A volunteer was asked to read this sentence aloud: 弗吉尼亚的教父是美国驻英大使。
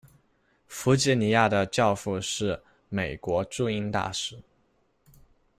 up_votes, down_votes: 2, 1